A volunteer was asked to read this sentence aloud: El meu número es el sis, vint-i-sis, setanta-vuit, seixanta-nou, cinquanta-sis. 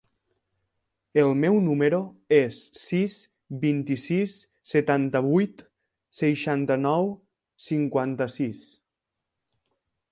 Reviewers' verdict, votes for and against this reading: rejected, 0, 2